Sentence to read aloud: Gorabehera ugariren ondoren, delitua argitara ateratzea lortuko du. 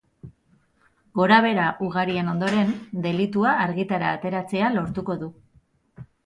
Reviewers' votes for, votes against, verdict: 2, 2, rejected